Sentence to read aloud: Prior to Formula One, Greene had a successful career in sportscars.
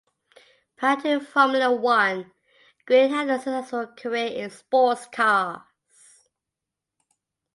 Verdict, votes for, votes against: accepted, 2, 0